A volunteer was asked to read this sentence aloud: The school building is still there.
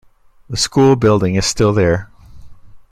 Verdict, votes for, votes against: accepted, 2, 0